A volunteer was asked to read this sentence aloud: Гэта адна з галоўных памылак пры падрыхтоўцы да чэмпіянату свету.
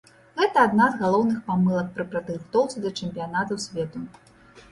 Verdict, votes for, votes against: rejected, 0, 2